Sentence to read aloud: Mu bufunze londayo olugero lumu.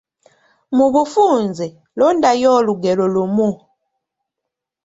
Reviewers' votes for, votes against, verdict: 1, 2, rejected